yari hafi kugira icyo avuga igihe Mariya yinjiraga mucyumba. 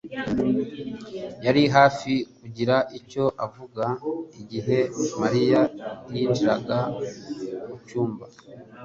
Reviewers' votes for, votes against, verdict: 2, 0, accepted